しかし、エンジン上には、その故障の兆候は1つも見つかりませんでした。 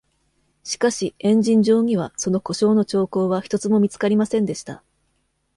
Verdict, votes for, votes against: rejected, 0, 2